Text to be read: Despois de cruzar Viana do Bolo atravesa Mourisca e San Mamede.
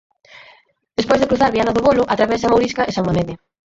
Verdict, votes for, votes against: rejected, 0, 4